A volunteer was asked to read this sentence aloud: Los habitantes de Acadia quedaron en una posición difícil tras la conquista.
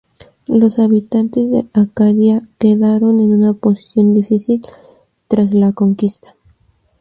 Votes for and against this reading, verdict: 2, 0, accepted